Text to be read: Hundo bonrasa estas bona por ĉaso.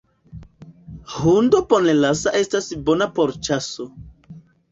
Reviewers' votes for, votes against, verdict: 2, 1, accepted